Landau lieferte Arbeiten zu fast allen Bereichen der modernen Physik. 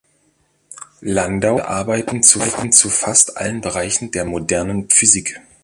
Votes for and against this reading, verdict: 0, 2, rejected